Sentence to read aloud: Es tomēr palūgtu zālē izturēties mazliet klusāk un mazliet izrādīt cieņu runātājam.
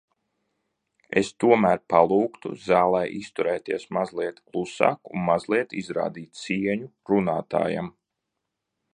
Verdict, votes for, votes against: accepted, 2, 0